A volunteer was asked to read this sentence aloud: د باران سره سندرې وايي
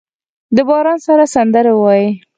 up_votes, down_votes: 4, 2